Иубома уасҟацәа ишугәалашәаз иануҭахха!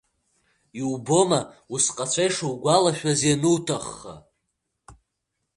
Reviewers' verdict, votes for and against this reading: accepted, 2, 0